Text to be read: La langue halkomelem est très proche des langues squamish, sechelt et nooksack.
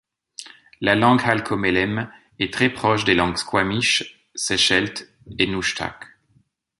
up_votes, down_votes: 0, 2